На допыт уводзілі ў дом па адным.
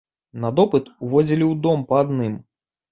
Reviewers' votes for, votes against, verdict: 4, 0, accepted